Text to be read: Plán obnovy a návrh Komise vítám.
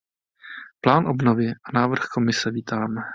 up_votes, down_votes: 2, 0